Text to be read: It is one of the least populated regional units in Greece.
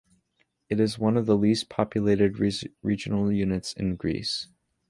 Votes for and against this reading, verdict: 0, 2, rejected